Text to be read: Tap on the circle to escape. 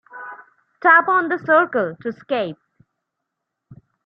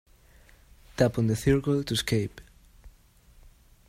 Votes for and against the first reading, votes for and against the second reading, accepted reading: 3, 0, 0, 2, first